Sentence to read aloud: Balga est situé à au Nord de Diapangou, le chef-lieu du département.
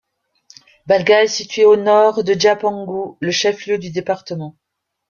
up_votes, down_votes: 0, 2